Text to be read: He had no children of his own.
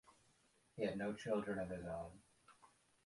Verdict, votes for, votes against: rejected, 0, 2